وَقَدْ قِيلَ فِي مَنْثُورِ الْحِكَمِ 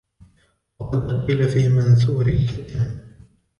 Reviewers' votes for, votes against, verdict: 0, 2, rejected